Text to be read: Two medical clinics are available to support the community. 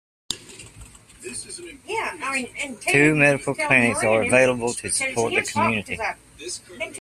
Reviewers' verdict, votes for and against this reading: rejected, 1, 2